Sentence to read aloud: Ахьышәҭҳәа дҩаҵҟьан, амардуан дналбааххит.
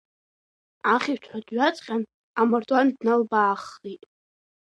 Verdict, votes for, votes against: rejected, 1, 2